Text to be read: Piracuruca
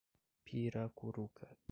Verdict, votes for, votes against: rejected, 1, 2